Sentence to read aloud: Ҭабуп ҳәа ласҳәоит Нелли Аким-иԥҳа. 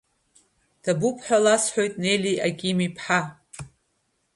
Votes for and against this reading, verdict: 2, 0, accepted